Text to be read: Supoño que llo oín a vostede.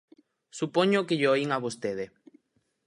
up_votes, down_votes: 4, 0